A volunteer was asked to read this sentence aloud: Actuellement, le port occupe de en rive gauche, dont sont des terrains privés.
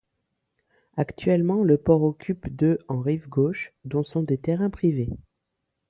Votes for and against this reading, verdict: 2, 0, accepted